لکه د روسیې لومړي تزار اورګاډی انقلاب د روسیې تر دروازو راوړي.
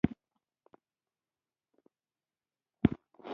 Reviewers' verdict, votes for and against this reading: rejected, 1, 3